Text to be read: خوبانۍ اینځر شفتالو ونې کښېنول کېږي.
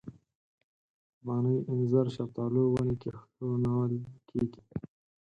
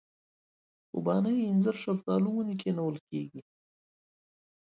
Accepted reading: second